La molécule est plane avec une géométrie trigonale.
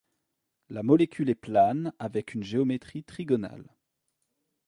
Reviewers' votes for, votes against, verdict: 2, 0, accepted